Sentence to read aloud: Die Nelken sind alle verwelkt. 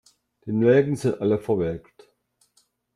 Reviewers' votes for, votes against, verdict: 2, 0, accepted